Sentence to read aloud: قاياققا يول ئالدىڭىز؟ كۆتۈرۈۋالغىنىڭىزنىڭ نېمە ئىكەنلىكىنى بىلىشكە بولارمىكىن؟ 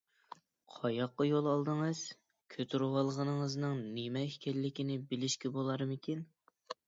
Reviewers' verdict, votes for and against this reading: accepted, 2, 0